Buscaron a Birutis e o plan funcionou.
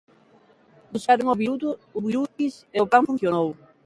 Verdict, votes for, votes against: rejected, 0, 2